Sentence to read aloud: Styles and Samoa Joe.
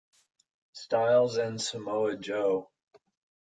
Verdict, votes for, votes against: accepted, 2, 0